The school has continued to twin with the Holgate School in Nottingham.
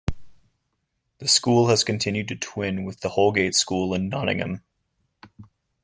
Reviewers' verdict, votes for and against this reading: accepted, 2, 0